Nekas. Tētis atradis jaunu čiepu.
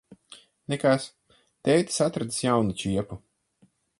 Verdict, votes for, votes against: accepted, 4, 2